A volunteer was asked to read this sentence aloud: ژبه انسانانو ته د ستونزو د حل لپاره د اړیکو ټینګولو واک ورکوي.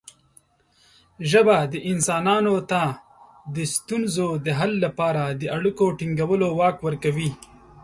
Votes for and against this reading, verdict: 1, 2, rejected